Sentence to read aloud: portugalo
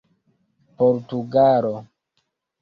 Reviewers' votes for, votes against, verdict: 0, 2, rejected